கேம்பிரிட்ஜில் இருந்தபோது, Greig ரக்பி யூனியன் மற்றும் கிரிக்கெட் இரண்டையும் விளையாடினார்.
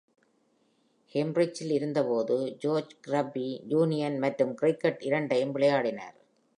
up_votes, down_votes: 1, 2